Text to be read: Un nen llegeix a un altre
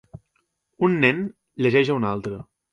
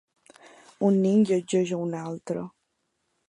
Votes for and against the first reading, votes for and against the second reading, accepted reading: 4, 0, 0, 2, first